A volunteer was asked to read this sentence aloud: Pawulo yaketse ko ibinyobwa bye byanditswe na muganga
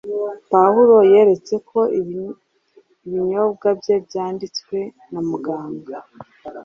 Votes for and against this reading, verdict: 2, 0, accepted